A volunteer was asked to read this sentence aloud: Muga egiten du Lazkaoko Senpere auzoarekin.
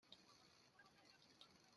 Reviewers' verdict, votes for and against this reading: rejected, 0, 2